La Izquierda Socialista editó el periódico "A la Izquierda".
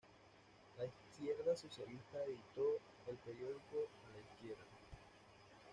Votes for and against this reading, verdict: 0, 2, rejected